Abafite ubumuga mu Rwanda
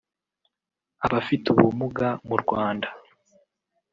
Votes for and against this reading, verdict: 1, 2, rejected